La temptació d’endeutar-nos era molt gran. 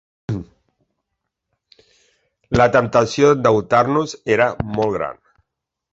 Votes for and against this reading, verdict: 0, 2, rejected